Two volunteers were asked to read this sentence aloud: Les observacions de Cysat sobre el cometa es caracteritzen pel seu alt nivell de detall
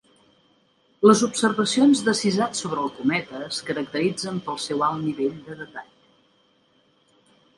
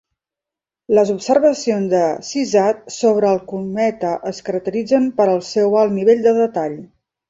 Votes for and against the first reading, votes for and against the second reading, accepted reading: 2, 1, 1, 2, first